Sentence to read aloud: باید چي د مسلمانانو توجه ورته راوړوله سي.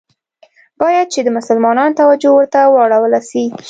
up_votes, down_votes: 2, 0